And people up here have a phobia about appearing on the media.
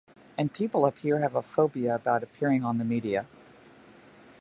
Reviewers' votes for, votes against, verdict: 2, 0, accepted